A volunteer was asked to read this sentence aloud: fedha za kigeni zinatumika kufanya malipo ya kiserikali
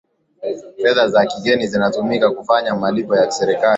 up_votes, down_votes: 2, 1